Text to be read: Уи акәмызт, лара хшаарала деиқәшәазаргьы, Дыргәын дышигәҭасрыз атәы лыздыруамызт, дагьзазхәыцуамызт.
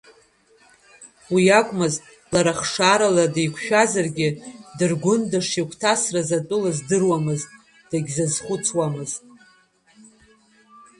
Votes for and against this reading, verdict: 1, 2, rejected